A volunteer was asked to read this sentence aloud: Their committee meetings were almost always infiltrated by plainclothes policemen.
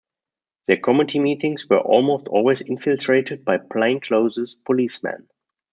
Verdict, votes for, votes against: accepted, 2, 1